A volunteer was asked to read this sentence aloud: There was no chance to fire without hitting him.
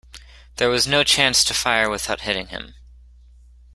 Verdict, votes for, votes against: rejected, 1, 2